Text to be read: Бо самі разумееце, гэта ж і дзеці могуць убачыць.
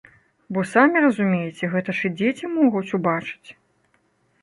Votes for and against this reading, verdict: 2, 0, accepted